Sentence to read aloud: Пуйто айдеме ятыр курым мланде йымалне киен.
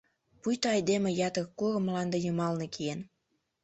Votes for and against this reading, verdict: 2, 0, accepted